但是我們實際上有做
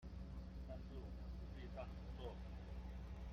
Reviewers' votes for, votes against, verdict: 0, 2, rejected